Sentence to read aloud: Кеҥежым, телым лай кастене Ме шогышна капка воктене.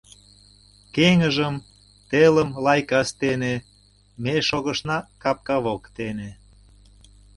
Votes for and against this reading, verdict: 0, 2, rejected